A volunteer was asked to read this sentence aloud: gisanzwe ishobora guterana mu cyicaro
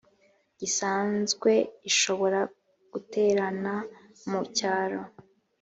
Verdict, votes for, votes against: rejected, 1, 2